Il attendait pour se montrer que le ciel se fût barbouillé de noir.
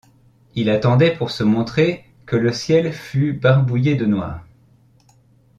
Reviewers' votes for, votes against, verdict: 1, 2, rejected